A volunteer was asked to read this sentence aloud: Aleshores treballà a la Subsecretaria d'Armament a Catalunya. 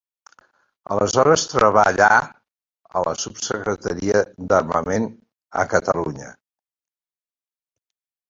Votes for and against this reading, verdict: 2, 0, accepted